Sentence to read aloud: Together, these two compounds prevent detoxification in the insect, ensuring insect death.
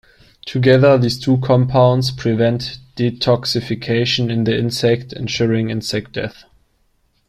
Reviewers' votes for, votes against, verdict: 2, 0, accepted